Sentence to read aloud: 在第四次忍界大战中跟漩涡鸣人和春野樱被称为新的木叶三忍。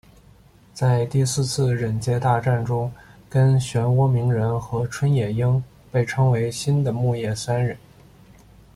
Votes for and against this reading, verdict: 2, 0, accepted